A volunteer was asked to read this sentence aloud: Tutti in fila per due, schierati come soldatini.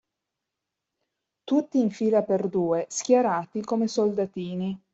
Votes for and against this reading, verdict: 2, 0, accepted